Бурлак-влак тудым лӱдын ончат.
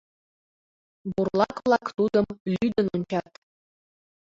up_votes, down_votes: 2, 1